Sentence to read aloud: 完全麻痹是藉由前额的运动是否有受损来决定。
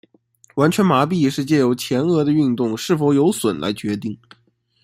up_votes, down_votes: 1, 2